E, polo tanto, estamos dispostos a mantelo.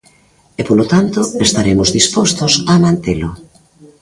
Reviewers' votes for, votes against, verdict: 1, 2, rejected